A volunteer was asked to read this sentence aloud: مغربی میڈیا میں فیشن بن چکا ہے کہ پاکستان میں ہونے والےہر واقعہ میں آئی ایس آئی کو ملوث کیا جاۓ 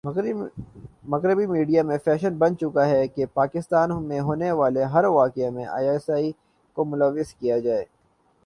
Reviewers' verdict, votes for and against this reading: rejected, 1, 2